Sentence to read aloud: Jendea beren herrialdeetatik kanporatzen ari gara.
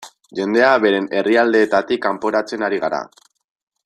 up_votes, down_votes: 2, 0